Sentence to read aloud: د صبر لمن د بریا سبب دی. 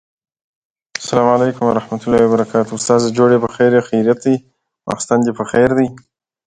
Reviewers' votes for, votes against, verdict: 1, 3, rejected